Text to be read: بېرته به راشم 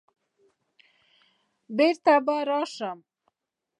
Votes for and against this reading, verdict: 2, 0, accepted